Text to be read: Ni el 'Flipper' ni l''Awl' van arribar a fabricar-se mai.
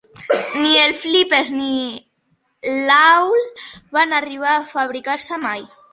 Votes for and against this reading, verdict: 2, 0, accepted